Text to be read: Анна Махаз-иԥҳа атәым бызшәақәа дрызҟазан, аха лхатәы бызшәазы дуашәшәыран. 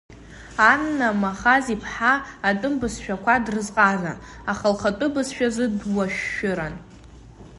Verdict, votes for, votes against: accepted, 2, 0